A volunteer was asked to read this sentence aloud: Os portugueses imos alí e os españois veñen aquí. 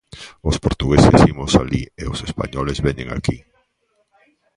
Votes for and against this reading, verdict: 0, 2, rejected